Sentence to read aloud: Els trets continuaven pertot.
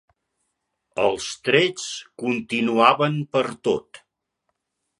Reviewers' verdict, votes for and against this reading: accepted, 2, 0